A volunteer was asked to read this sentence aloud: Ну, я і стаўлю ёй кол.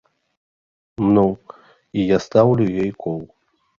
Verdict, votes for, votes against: rejected, 1, 2